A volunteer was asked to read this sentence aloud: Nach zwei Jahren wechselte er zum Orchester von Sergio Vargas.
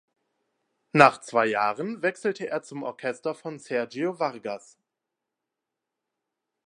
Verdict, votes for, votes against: accepted, 2, 0